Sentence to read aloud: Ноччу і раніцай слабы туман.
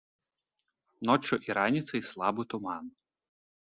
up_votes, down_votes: 0, 2